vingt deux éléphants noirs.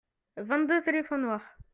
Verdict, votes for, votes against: accepted, 2, 0